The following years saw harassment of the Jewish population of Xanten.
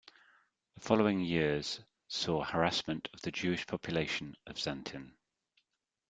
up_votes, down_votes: 2, 0